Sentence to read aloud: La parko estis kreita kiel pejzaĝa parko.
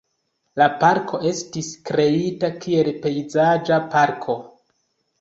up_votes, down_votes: 3, 0